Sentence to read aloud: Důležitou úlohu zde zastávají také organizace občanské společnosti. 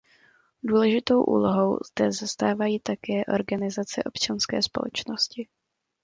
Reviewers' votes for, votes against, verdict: 2, 0, accepted